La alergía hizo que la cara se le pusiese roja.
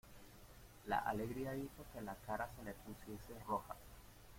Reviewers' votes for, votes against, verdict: 1, 2, rejected